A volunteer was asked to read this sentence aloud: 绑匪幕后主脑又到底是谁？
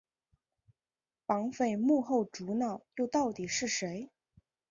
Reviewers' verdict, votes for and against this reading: accepted, 2, 1